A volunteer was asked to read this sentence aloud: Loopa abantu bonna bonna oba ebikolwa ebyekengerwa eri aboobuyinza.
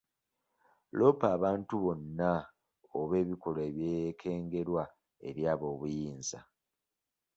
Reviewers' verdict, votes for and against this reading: rejected, 1, 2